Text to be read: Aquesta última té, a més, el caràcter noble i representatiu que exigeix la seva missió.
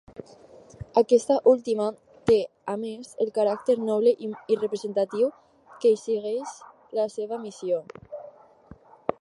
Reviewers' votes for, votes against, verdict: 0, 4, rejected